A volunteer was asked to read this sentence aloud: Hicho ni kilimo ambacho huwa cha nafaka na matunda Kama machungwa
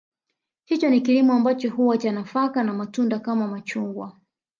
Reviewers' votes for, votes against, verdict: 1, 2, rejected